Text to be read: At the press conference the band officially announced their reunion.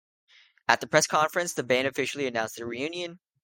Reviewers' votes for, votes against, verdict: 2, 0, accepted